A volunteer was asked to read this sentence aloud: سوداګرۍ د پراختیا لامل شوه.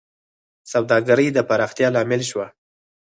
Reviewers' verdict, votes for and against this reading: accepted, 4, 0